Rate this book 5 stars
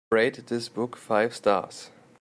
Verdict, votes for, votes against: rejected, 0, 2